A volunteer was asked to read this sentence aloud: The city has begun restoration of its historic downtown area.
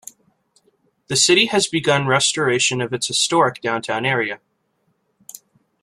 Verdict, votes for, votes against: accepted, 2, 0